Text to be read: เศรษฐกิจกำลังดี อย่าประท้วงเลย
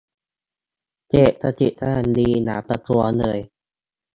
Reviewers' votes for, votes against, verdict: 0, 2, rejected